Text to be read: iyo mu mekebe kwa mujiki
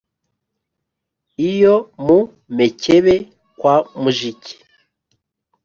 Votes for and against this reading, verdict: 3, 0, accepted